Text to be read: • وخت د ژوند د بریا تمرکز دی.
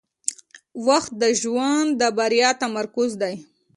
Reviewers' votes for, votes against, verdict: 2, 0, accepted